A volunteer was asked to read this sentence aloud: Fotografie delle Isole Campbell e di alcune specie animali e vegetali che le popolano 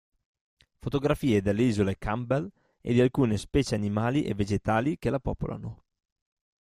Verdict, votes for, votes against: rejected, 1, 2